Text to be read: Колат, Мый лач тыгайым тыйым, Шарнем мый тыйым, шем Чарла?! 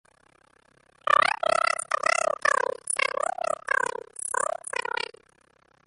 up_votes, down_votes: 0, 2